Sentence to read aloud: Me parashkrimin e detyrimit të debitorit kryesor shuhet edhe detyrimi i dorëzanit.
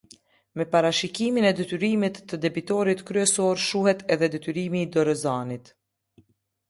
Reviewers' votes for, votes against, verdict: 1, 2, rejected